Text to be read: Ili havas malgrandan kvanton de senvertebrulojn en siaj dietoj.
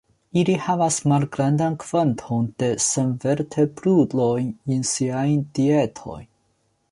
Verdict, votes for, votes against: accepted, 2, 0